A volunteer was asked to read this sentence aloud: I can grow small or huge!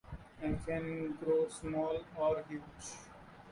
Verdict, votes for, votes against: rejected, 1, 2